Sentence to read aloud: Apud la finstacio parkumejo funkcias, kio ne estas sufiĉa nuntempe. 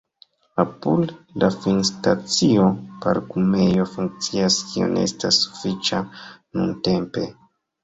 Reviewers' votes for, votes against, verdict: 1, 2, rejected